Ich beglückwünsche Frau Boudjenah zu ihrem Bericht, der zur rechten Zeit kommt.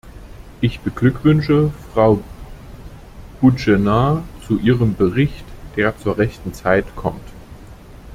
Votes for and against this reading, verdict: 1, 2, rejected